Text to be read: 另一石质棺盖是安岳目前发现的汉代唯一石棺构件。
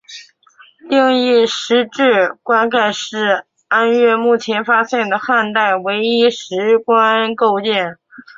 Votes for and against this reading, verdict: 2, 0, accepted